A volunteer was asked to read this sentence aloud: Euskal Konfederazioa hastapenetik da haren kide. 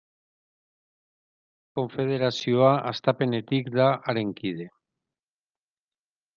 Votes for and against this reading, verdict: 0, 2, rejected